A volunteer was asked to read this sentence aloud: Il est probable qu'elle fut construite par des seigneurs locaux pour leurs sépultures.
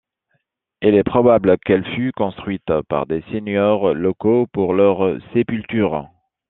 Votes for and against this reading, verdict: 2, 0, accepted